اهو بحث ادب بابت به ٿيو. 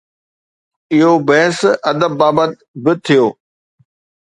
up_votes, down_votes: 2, 0